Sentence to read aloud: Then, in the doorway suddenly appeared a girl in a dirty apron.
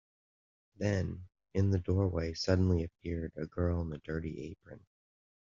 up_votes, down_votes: 2, 0